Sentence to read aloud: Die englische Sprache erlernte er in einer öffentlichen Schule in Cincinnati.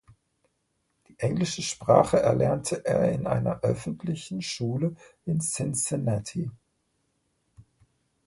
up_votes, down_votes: 1, 2